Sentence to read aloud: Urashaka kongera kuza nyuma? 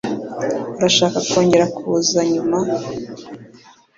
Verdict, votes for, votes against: accepted, 2, 0